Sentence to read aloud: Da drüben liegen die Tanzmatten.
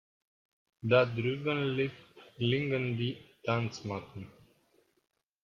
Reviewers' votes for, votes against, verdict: 0, 3, rejected